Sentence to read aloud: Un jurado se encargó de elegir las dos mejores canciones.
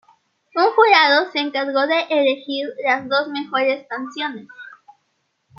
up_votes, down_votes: 2, 0